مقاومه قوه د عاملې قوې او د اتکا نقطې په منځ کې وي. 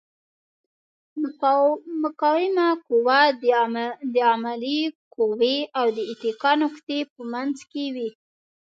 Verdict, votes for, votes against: rejected, 1, 2